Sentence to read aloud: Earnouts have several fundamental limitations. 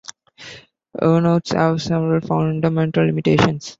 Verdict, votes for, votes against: rejected, 1, 2